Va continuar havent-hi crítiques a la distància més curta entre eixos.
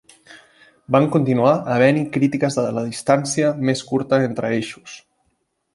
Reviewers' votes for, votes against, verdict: 0, 2, rejected